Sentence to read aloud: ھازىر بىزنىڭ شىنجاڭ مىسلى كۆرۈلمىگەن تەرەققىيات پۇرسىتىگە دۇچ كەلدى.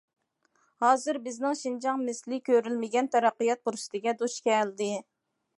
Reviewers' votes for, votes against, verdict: 2, 0, accepted